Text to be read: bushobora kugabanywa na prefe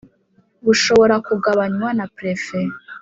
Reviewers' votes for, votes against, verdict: 2, 0, accepted